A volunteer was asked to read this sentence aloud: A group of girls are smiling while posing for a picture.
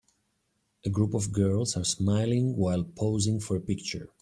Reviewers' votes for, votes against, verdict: 2, 0, accepted